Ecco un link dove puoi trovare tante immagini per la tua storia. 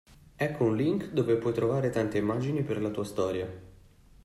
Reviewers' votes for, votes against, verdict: 2, 0, accepted